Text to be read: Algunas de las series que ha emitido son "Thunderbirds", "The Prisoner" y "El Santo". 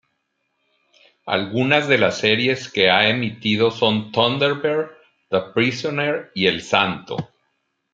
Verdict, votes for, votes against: accepted, 2, 0